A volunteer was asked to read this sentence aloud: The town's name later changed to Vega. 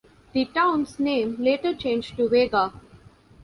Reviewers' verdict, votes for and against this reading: accepted, 3, 0